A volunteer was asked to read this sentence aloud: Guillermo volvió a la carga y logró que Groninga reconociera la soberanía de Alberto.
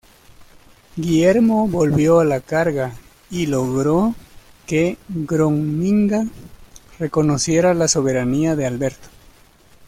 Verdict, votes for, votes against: rejected, 0, 2